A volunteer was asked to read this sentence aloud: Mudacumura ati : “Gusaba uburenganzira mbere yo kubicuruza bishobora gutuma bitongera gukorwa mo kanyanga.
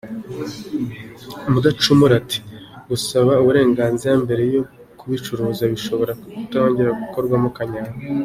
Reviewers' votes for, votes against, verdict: 2, 0, accepted